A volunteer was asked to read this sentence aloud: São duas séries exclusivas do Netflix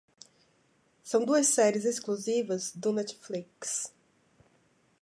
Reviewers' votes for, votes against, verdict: 3, 0, accepted